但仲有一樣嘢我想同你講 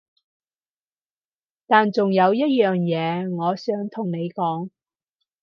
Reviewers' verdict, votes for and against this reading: accepted, 4, 0